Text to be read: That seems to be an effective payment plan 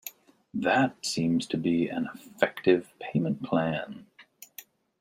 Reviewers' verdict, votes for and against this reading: accepted, 2, 0